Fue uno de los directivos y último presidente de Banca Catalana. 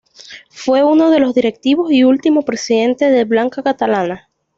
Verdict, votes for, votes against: accepted, 2, 0